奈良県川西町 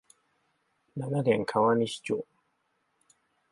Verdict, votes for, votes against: accepted, 5, 3